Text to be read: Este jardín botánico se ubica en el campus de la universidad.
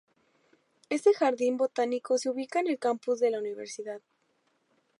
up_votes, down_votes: 0, 2